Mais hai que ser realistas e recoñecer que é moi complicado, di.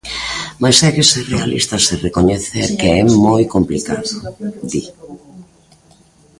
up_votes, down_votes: 1, 2